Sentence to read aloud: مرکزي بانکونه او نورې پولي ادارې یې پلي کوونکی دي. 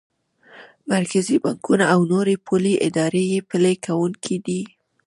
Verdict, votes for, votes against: accepted, 2, 1